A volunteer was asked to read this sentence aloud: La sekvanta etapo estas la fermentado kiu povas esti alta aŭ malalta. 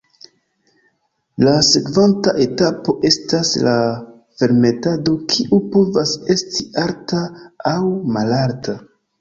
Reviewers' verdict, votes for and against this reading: accepted, 2, 0